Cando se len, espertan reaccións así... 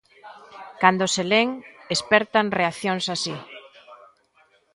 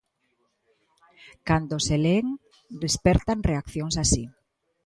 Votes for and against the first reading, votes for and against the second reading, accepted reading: 2, 1, 1, 2, first